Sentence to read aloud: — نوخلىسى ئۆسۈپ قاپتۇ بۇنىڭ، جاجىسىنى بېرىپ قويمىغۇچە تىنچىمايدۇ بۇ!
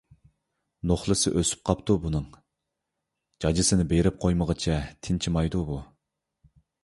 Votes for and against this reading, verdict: 2, 0, accepted